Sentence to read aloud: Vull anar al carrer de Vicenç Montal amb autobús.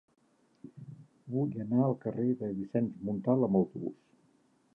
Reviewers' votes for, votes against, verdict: 2, 1, accepted